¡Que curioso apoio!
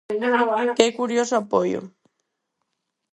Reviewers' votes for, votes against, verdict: 0, 4, rejected